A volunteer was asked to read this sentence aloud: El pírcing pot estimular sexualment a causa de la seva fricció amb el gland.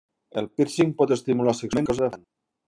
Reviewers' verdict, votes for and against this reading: rejected, 0, 2